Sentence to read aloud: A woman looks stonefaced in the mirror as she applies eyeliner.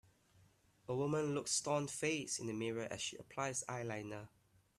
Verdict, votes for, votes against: accepted, 2, 0